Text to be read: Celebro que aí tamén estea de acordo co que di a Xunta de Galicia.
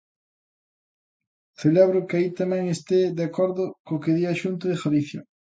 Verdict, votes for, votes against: rejected, 0, 3